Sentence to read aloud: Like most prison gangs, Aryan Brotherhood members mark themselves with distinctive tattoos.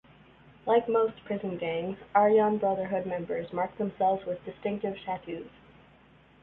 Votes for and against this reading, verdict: 1, 2, rejected